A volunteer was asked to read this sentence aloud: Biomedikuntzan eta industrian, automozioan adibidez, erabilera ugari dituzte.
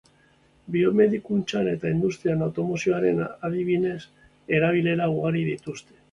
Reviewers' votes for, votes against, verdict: 0, 2, rejected